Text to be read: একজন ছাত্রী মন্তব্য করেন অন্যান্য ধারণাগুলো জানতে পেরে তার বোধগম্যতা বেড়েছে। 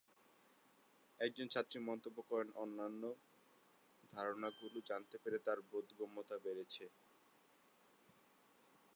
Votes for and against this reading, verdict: 0, 2, rejected